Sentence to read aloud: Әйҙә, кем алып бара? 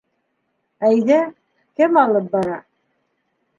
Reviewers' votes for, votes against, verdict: 2, 0, accepted